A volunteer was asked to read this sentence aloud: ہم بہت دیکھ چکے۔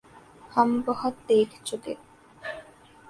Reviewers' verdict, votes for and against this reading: accepted, 4, 0